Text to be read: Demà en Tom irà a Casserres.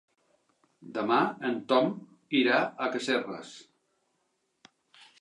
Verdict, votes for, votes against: accepted, 3, 0